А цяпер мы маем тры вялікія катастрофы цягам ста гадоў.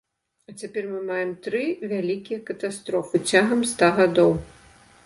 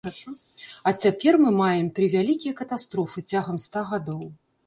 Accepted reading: first